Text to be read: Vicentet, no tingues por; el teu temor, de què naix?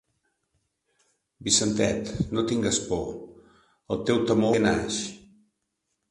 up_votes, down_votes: 0, 2